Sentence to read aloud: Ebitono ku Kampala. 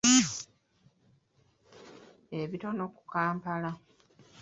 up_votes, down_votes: 1, 2